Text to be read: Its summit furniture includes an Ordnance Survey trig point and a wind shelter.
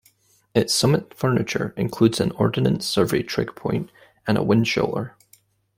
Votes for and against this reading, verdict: 0, 2, rejected